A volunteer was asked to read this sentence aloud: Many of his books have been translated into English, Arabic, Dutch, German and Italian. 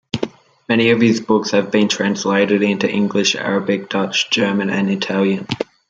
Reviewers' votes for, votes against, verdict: 0, 2, rejected